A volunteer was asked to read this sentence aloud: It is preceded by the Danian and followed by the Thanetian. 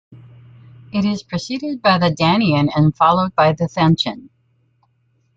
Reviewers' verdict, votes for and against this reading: rejected, 0, 2